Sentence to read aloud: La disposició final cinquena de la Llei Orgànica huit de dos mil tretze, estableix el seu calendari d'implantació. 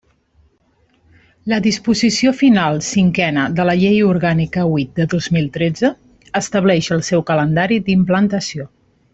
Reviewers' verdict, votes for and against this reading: rejected, 1, 2